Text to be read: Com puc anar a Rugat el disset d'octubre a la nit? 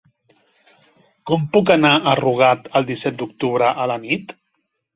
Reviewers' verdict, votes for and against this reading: accepted, 3, 0